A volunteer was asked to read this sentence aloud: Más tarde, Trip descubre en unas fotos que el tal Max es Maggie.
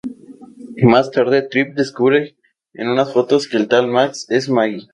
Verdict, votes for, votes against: accepted, 2, 0